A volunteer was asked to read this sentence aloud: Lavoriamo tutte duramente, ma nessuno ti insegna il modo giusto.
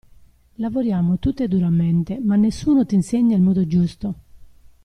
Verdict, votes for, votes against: accepted, 2, 0